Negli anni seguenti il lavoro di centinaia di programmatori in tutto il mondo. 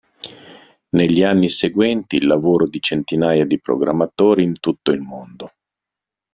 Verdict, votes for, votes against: accepted, 2, 0